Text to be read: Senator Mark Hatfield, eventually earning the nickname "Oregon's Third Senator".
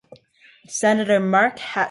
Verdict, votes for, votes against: rejected, 0, 2